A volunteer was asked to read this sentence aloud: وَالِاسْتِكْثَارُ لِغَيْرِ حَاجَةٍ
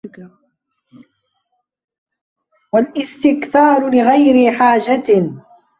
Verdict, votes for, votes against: rejected, 0, 2